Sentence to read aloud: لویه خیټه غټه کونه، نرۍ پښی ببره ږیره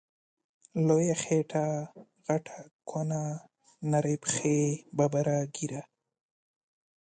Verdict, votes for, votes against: rejected, 1, 2